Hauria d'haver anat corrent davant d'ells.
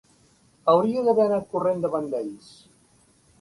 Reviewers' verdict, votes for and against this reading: accepted, 2, 0